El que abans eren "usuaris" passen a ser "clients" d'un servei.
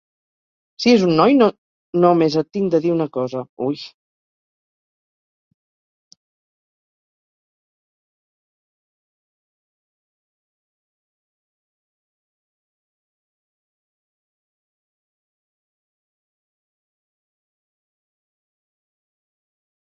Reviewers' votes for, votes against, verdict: 0, 4, rejected